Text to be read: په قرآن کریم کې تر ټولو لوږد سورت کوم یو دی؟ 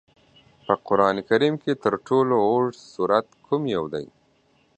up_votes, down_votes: 2, 1